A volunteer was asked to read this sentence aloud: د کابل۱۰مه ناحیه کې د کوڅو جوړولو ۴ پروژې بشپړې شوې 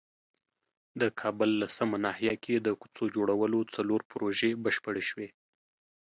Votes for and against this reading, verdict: 0, 2, rejected